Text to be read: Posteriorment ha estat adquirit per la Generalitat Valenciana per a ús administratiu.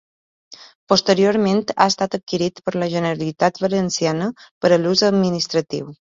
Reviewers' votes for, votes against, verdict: 2, 1, accepted